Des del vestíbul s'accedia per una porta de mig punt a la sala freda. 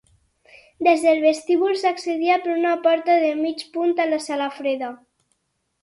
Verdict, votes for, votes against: accepted, 8, 0